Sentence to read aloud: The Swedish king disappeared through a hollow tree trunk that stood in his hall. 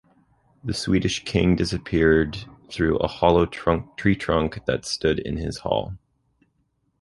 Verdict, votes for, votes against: rejected, 0, 2